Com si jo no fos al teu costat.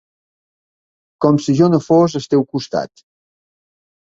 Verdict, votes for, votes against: accepted, 2, 0